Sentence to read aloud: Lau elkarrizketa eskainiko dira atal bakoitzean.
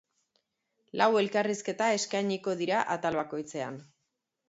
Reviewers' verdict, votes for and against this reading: accepted, 2, 0